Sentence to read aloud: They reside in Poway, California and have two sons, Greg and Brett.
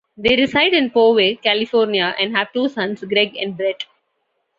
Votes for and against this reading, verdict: 2, 0, accepted